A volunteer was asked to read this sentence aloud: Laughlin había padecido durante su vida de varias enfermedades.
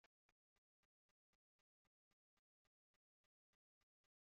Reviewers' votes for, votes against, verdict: 1, 2, rejected